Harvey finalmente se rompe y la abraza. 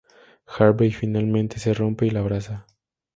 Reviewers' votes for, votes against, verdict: 4, 0, accepted